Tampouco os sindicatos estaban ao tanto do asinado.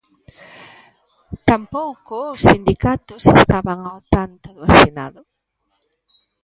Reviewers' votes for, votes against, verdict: 1, 2, rejected